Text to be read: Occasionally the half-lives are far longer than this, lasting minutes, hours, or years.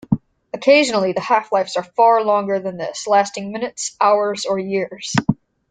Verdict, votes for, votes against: rejected, 1, 2